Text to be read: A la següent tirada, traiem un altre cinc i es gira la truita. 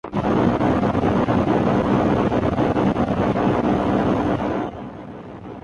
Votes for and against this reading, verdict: 0, 2, rejected